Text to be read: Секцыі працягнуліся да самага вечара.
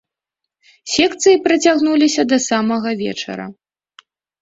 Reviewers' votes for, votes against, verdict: 2, 0, accepted